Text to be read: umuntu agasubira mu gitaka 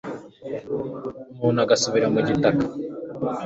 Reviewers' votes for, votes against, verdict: 2, 0, accepted